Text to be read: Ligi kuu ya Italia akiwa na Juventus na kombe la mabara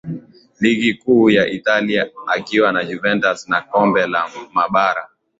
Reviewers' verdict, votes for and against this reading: accepted, 2, 0